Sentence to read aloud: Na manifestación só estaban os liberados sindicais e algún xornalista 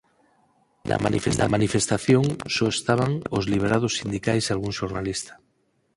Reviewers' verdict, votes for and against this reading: rejected, 2, 4